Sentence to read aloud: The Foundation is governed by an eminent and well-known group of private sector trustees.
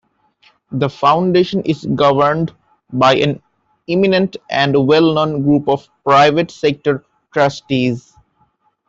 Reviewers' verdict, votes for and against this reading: accepted, 2, 0